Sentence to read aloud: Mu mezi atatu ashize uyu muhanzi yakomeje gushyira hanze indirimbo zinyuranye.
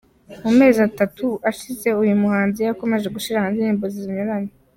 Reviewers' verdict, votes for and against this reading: rejected, 0, 2